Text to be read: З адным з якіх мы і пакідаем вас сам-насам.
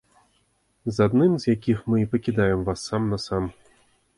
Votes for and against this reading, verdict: 2, 0, accepted